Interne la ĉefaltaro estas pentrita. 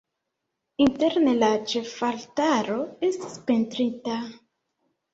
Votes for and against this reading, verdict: 2, 1, accepted